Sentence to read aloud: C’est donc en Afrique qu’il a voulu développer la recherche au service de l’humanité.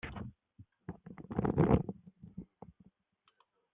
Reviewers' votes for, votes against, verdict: 0, 2, rejected